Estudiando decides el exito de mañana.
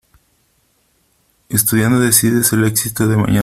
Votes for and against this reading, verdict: 1, 2, rejected